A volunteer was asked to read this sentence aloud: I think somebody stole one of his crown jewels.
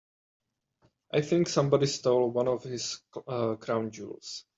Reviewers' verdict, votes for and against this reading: accepted, 2, 1